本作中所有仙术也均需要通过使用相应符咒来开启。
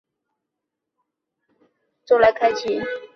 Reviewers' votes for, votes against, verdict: 0, 7, rejected